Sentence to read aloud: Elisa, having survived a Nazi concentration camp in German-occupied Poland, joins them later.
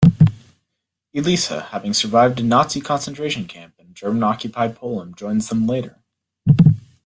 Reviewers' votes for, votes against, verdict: 2, 1, accepted